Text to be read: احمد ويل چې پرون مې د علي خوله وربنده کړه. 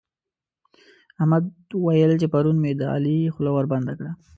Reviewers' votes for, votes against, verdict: 2, 0, accepted